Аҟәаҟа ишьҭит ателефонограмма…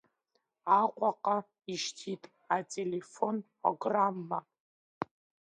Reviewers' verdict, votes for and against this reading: rejected, 0, 2